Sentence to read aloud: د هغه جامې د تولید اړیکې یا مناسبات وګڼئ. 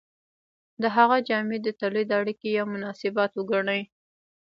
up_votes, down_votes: 1, 2